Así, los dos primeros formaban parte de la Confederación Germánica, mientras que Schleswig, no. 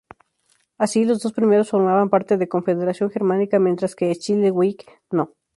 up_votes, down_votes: 0, 2